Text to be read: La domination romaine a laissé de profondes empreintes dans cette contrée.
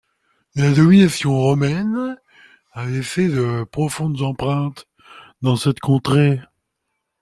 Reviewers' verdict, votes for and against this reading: rejected, 1, 2